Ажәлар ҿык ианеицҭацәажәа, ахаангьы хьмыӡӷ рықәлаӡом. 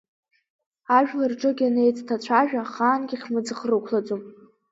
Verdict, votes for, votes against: accepted, 2, 0